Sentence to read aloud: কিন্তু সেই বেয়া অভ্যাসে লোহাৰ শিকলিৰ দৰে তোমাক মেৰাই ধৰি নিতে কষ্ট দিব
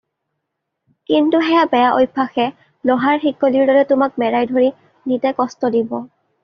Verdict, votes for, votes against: accepted, 2, 0